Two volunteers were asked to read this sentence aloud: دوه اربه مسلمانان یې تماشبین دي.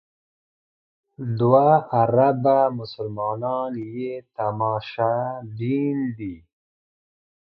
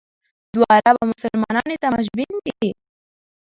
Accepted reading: first